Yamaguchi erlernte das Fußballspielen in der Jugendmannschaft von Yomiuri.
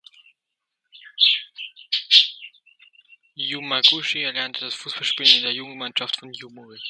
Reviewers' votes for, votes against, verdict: 0, 2, rejected